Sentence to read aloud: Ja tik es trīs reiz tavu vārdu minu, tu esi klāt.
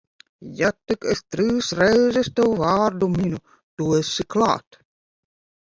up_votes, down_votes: 0, 2